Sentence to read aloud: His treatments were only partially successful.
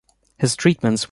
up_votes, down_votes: 1, 2